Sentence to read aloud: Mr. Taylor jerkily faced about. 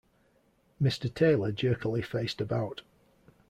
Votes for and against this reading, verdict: 1, 2, rejected